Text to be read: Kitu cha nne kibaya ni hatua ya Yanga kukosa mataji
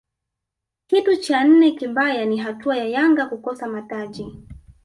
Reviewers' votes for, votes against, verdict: 0, 2, rejected